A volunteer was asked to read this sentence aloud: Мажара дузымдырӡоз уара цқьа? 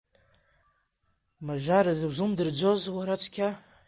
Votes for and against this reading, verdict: 2, 0, accepted